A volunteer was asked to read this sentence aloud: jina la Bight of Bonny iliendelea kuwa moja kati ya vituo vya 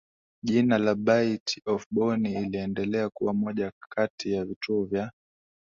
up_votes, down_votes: 7, 2